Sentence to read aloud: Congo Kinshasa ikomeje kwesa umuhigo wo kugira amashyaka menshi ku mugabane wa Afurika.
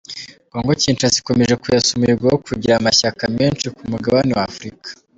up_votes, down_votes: 2, 0